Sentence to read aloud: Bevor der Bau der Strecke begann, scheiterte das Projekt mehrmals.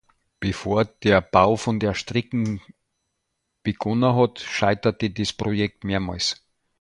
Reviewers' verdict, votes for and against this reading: rejected, 0, 2